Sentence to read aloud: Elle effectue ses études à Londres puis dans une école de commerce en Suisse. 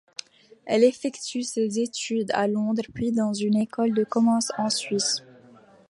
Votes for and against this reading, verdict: 2, 1, accepted